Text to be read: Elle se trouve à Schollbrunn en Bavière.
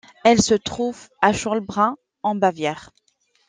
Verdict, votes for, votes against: accepted, 2, 0